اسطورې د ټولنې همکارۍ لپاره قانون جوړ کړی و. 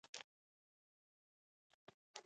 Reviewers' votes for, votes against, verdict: 1, 2, rejected